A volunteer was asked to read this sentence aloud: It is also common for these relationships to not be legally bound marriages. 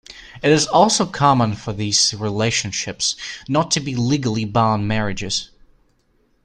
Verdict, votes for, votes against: rejected, 1, 2